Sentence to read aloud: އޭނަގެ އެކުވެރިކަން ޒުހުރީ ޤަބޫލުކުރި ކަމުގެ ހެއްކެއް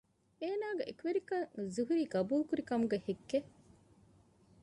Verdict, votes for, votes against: accepted, 2, 1